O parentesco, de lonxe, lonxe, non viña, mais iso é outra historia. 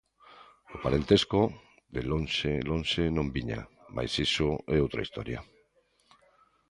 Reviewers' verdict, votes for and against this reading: accepted, 2, 0